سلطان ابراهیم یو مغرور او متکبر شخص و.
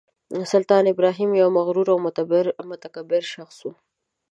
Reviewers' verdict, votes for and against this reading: accepted, 2, 1